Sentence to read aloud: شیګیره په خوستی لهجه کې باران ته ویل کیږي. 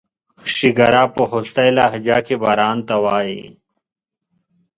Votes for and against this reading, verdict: 0, 2, rejected